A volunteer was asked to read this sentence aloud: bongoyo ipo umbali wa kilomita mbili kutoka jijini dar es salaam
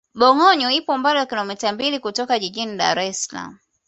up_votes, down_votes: 2, 0